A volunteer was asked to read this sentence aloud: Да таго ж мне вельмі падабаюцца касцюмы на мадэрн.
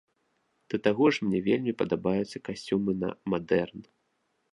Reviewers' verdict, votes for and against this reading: accepted, 2, 0